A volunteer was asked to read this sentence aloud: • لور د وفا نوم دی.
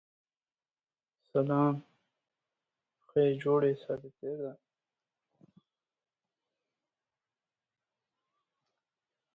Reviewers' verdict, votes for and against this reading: rejected, 1, 2